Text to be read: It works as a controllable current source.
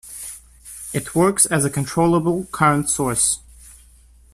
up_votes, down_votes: 2, 0